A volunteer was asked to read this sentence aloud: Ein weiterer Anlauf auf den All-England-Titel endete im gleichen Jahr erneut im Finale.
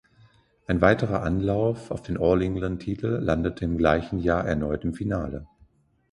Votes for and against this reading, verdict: 1, 2, rejected